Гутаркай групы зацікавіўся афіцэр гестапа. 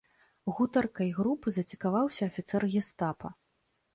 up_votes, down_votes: 0, 2